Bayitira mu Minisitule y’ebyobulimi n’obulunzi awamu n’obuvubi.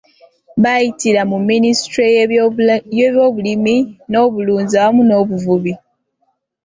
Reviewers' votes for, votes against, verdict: 2, 0, accepted